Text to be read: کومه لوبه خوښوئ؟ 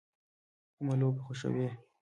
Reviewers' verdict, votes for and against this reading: accepted, 2, 0